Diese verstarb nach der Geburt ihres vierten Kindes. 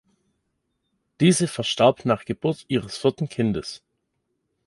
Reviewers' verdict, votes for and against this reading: rejected, 0, 2